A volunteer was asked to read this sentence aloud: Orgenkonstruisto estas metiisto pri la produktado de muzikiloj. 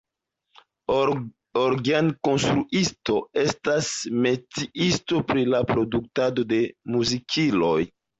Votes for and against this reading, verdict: 0, 2, rejected